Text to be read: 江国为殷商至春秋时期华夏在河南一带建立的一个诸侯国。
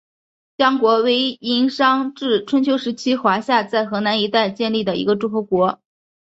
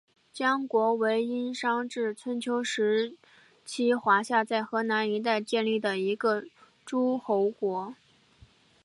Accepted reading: first